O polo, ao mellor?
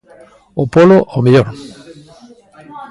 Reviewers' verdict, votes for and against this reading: accepted, 2, 0